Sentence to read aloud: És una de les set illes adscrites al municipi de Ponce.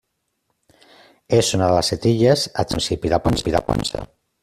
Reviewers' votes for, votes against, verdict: 0, 2, rejected